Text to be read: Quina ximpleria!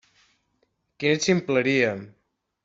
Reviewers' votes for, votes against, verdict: 1, 2, rejected